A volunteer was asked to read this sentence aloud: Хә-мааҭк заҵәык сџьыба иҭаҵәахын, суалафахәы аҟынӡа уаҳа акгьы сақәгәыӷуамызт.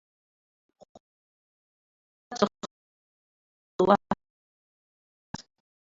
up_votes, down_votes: 0, 2